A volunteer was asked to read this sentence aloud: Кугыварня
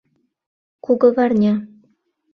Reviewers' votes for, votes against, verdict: 2, 0, accepted